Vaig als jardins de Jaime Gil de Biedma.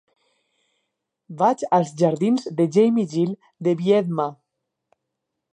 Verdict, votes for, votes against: rejected, 2, 4